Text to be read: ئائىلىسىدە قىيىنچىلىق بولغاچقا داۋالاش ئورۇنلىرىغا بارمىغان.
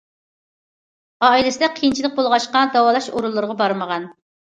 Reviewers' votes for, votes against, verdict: 2, 0, accepted